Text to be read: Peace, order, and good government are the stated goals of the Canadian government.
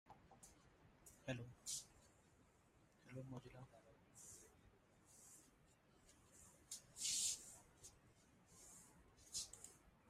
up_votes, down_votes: 0, 2